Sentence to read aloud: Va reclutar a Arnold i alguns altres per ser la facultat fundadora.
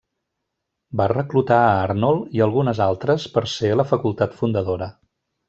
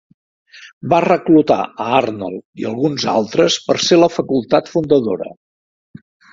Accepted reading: second